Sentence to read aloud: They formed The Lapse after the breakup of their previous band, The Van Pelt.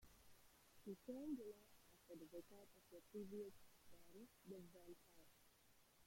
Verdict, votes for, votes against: rejected, 0, 2